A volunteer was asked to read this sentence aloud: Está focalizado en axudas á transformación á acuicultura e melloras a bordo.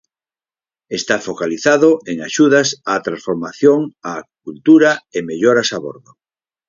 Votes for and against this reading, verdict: 4, 6, rejected